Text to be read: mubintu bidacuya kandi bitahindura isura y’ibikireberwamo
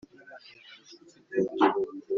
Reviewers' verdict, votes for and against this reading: rejected, 0, 2